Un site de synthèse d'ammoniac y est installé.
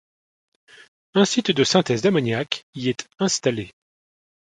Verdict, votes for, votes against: accepted, 2, 0